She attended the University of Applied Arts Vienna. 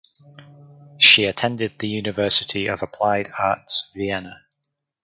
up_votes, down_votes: 4, 2